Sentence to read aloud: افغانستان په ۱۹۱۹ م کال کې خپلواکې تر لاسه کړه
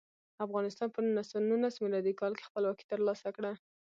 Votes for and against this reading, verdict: 0, 2, rejected